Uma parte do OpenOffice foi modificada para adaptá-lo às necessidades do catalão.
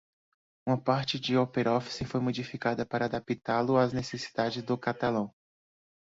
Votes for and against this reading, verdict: 1, 2, rejected